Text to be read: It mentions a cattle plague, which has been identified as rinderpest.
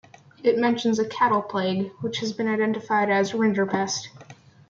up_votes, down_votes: 1, 2